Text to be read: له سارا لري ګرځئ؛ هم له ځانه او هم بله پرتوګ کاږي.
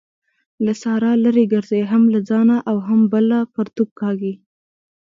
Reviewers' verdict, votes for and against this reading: accepted, 2, 0